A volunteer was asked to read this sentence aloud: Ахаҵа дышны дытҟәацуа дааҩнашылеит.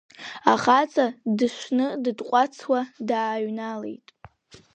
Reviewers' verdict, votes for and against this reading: accepted, 3, 2